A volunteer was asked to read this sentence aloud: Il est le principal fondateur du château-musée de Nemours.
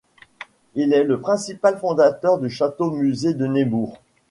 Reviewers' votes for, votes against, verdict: 1, 3, rejected